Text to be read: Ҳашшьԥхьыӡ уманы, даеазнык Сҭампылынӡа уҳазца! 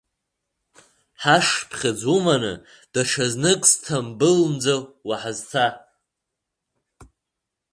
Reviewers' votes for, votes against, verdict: 0, 2, rejected